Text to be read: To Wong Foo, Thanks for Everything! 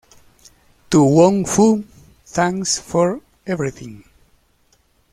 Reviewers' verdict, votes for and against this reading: rejected, 1, 2